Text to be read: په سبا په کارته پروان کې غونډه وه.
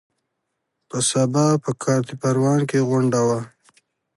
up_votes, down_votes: 2, 0